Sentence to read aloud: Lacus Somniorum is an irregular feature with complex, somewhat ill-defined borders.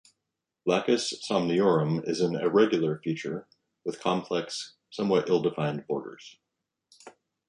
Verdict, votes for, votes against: accepted, 2, 0